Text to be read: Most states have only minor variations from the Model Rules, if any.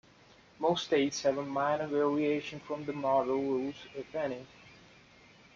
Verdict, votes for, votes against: rejected, 0, 2